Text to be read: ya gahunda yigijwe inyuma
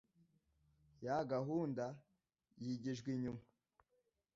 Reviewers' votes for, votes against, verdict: 2, 0, accepted